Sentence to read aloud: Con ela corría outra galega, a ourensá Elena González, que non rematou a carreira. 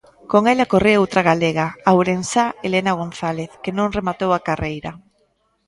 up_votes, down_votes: 0, 2